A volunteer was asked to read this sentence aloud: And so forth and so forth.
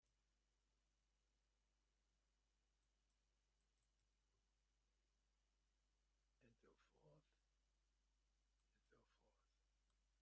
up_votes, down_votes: 0, 2